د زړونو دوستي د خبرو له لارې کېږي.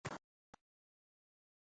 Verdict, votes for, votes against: rejected, 1, 2